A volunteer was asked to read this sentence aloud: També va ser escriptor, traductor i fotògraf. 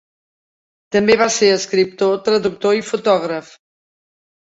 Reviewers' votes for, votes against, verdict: 3, 0, accepted